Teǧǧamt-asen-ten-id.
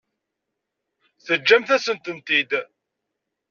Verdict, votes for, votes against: rejected, 1, 2